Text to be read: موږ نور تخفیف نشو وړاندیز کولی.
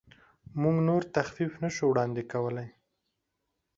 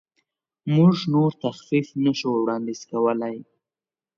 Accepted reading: second